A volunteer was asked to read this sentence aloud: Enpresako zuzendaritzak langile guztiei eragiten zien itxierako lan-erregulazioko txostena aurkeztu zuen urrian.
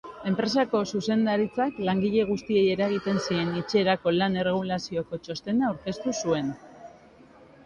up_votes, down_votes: 0, 4